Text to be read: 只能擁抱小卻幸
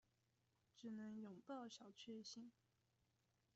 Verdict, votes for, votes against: rejected, 1, 2